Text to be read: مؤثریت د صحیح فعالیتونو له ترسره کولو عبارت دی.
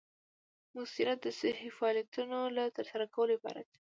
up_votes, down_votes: 2, 0